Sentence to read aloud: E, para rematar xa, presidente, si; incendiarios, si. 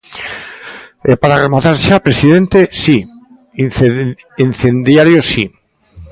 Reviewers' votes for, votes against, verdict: 0, 2, rejected